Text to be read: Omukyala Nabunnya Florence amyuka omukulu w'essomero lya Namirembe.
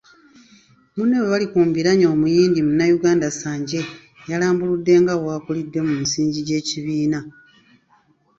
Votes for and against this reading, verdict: 1, 2, rejected